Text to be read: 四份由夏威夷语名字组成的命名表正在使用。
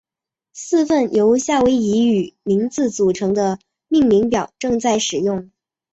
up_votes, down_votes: 2, 0